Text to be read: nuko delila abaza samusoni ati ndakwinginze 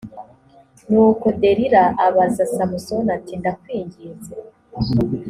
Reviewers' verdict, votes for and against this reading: accepted, 2, 0